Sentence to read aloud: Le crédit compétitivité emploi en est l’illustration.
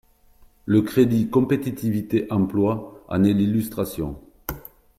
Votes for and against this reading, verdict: 4, 0, accepted